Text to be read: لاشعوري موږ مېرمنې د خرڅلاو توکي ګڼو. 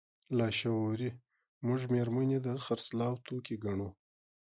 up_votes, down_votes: 2, 0